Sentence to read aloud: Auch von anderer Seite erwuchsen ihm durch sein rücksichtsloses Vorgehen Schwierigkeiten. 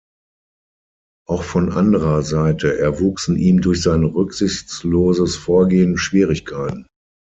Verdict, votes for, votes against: accepted, 6, 0